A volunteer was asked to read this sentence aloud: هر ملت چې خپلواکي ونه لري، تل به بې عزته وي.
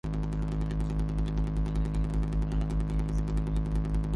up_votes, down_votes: 0, 2